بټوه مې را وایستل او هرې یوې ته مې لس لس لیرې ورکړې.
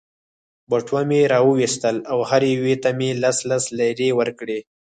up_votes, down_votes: 4, 0